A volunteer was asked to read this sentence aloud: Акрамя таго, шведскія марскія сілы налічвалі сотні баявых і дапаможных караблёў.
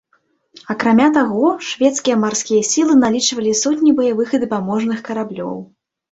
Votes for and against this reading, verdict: 2, 0, accepted